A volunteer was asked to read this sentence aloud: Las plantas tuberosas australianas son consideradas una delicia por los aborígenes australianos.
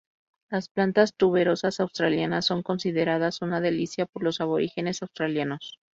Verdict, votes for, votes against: rejected, 0, 2